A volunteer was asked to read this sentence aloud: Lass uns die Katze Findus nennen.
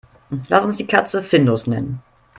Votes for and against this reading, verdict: 2, 0, accepted